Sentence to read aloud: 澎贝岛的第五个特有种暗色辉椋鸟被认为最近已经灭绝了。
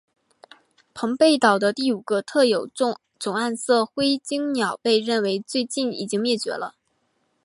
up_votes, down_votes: 1, 2